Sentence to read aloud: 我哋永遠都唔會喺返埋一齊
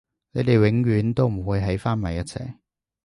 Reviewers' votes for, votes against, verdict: 0, 2, rejected